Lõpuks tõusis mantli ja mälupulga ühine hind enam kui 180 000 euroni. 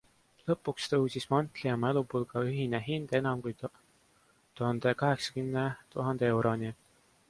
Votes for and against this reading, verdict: 0, 2, rejected